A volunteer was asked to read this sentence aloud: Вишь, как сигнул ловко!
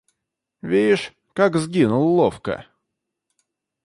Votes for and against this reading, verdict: 1, 2, rejected